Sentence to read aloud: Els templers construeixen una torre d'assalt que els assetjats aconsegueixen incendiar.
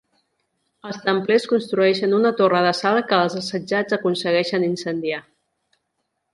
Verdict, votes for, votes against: accepted, 2, 0